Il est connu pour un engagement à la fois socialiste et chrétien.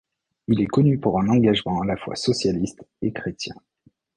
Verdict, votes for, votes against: accepted, 2, 0